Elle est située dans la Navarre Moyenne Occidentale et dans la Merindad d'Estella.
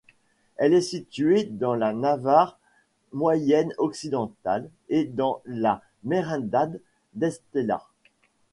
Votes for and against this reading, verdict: 0, 2, rejected